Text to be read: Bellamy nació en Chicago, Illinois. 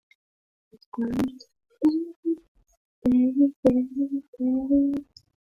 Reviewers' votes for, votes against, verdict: 0, 2, rejected